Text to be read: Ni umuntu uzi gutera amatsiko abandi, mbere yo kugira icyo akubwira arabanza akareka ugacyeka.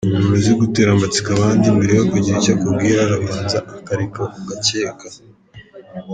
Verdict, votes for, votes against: rejected, 1, 2